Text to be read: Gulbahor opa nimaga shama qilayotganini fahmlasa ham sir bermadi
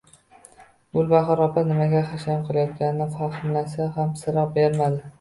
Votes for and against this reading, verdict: 1, 2, rejected